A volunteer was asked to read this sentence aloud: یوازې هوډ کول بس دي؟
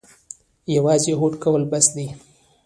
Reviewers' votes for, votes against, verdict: 2, 1, accepted